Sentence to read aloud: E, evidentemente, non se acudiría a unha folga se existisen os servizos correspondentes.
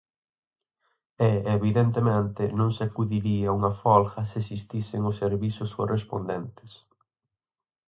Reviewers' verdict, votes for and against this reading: accepted, 4, 0